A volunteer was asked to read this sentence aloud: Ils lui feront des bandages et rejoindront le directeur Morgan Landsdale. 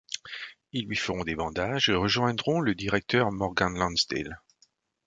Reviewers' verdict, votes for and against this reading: accepted, 2, 0